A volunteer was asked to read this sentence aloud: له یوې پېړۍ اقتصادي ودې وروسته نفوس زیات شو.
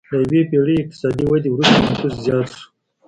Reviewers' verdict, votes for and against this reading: accepted, 2, 0